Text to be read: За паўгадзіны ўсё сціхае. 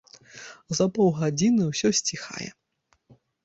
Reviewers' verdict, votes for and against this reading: accepted, 2, 0